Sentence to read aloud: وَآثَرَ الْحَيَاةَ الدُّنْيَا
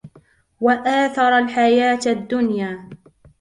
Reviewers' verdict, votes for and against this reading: accepted, 2, 0